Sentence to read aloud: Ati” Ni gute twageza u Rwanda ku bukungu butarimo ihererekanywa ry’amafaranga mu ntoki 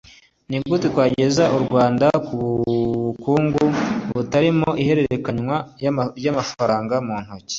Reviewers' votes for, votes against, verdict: 1, 2, rejected